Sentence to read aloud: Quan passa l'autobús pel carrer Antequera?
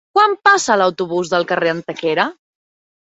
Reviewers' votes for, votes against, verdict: 0, 2, rejected